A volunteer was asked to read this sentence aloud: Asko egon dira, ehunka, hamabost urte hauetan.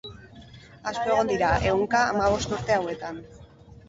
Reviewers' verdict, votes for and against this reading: rejected, 2, 2